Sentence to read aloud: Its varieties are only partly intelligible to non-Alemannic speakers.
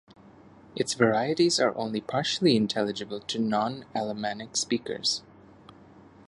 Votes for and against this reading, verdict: 0, 2, rejected